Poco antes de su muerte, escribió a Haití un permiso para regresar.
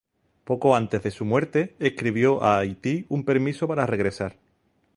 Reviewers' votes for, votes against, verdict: 2, 0, accepted